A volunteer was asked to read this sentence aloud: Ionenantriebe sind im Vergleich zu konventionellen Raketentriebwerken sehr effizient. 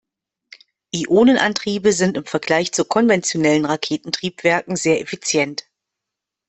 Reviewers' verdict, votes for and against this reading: accepted, 2, 0